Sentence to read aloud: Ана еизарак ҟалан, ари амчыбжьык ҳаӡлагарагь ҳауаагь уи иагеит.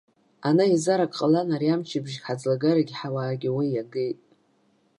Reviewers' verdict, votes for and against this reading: accepted, 2, 0